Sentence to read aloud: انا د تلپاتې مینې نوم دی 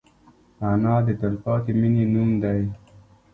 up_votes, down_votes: 3, 1